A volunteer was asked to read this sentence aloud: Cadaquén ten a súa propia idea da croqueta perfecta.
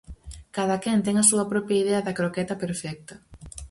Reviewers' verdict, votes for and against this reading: accepted, 4, 0